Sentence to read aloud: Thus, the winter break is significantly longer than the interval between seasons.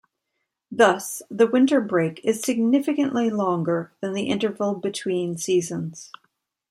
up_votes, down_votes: 2, 1